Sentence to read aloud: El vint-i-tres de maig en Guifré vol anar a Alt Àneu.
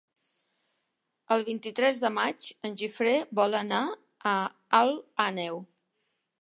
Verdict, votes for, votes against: rejected, 1, 2